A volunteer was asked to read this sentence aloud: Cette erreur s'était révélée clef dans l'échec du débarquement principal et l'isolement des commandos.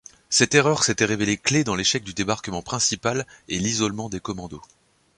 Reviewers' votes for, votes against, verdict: 2, 0, accepted